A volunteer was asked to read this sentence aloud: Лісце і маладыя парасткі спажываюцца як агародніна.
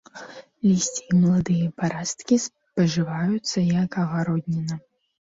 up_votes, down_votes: 1, 2